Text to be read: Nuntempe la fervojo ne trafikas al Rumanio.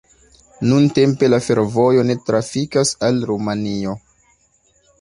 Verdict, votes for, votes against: rejected, 0, 2